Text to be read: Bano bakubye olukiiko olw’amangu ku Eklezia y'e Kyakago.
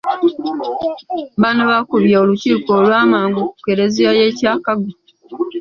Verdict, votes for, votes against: rejected, 1, 2